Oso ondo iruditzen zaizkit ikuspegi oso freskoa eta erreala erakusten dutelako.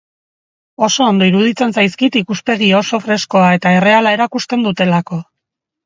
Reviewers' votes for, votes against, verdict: 3, 1, accepted